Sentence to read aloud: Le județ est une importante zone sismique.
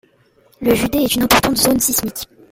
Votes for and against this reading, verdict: 1, 2, rejected